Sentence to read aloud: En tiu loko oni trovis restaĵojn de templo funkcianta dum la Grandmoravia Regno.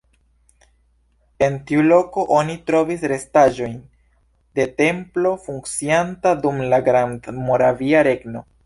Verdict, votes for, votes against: accepted, 2, 0